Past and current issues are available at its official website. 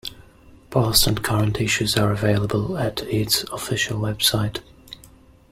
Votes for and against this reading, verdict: 2, 0, accepted